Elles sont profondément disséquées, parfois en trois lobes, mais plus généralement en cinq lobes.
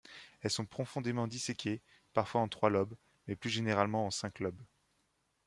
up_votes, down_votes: 2, 0